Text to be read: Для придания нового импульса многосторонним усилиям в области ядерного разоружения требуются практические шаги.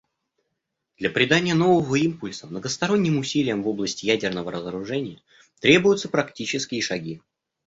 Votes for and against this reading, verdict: 2, 0, accepted